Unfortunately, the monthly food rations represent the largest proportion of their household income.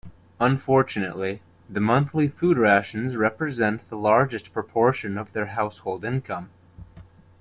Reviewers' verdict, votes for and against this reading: accepted, 2, 0